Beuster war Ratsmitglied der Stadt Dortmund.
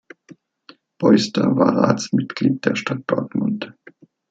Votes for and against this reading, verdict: 2, 0, accepted